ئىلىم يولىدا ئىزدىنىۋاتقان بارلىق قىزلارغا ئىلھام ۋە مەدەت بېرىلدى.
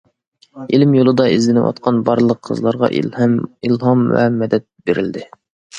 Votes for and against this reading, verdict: 1, 2, rejected